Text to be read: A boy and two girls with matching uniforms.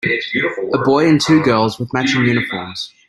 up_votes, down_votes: 1, 3